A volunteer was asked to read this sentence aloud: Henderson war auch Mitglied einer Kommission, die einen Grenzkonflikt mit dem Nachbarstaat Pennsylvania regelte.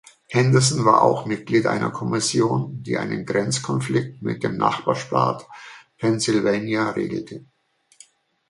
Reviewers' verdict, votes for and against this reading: accepted, 2, 0